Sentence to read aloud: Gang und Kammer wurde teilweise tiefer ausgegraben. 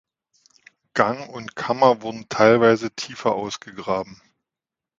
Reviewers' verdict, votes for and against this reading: accepted, 2, 1